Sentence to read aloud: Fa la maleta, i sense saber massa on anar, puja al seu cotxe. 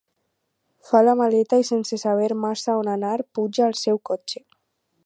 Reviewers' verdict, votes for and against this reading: accepted, 6, 0